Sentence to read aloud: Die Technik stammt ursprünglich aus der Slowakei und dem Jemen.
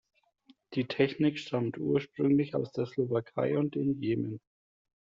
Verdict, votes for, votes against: accepted, 2, 0